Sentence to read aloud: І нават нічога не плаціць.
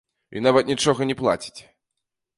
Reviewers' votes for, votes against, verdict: 2, 0, accepted